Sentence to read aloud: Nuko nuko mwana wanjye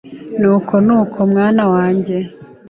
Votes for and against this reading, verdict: 2, 0, accepted